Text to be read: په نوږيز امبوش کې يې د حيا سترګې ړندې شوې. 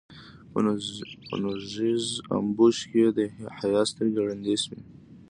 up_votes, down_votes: 2, 0